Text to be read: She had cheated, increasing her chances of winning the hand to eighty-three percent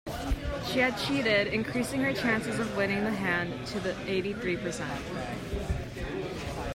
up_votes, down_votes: 2, 1